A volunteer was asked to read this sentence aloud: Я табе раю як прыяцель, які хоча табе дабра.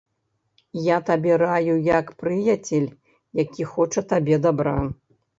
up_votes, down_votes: 1, 2